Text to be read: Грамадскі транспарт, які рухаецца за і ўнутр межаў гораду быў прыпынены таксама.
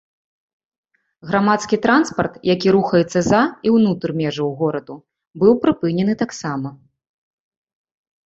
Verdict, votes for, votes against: accepted, 3, 0